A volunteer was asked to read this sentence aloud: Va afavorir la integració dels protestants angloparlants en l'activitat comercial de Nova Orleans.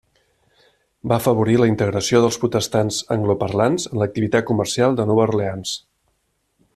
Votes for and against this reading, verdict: 1, 2, rejected